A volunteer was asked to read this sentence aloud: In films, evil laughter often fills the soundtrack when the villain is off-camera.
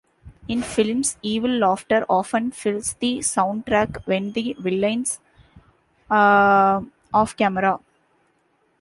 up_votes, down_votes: 0, 2